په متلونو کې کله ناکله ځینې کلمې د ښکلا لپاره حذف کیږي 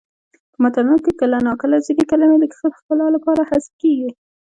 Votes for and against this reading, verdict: 0, 2, rejected